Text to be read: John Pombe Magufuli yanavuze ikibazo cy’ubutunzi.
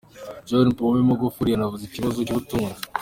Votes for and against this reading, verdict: 2, 0, accepted